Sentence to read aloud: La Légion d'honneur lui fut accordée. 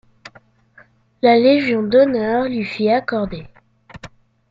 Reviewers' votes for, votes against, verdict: 2, 0, accepted